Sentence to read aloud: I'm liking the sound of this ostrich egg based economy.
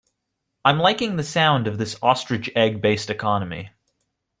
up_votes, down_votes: 2, 0